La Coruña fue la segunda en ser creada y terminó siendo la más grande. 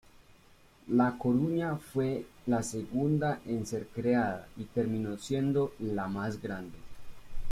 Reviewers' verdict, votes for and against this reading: accepted, 2, 1